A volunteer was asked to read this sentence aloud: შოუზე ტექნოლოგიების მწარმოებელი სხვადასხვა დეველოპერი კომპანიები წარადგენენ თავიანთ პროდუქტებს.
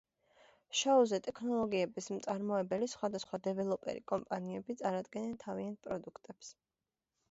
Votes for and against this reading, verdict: 0, 2, rejected